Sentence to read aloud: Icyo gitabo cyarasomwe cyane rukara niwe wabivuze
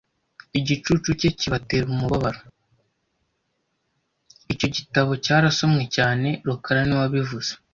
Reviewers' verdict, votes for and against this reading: rejected, 1, 2